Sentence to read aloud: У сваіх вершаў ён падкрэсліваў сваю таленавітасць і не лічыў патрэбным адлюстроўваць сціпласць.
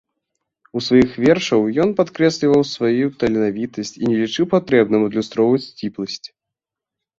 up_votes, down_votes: 2, 1